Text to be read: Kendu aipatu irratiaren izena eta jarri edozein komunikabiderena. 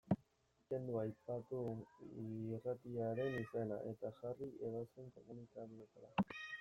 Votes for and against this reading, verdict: 0, 2, rejected